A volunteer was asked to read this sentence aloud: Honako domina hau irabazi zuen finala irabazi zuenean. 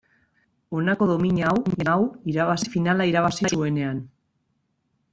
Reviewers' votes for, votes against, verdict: 0, 2, rejected